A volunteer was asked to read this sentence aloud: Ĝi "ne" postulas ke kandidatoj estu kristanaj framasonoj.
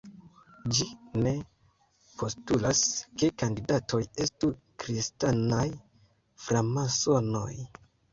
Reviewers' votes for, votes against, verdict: 1, 2, rejected